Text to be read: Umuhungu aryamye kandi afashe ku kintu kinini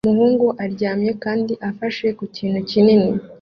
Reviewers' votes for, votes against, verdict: 2, 0, accepted